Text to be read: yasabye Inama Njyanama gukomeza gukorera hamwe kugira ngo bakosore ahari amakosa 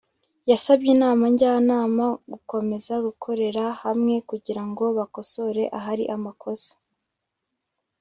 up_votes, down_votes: 2, 0